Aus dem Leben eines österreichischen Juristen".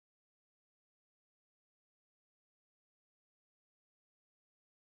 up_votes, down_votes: 0, 2